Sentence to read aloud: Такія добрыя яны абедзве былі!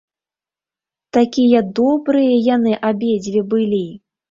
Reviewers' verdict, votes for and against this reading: accepted, 2, 0